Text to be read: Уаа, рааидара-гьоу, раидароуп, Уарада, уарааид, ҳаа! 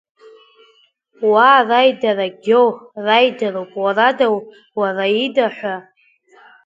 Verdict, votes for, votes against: rejected, 1, 2